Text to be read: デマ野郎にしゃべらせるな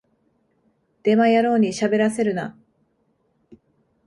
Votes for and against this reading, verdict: 2, 0, accepted